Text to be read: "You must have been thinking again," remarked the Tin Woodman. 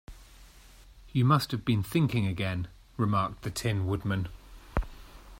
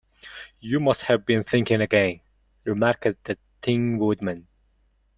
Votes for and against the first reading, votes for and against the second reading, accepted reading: 2, 1, 1, 2, first